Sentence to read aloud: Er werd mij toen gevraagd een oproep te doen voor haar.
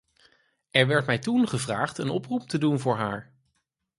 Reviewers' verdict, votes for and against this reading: accepted, 4, 0